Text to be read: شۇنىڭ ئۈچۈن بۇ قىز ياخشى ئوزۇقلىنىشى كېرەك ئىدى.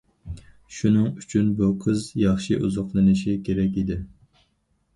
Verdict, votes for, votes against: accepted, 4, 0